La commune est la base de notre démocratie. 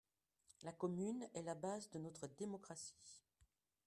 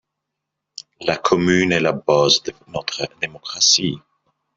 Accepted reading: first